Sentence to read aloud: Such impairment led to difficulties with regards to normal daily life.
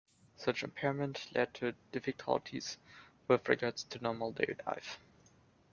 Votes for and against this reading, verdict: 2, 0, accepted